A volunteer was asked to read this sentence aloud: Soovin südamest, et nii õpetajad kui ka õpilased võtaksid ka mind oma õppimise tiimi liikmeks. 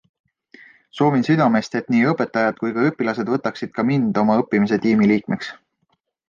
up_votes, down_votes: 2, 0